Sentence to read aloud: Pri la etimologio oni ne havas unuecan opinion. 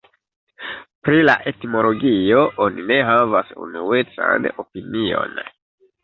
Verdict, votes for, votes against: accepted, 2, 1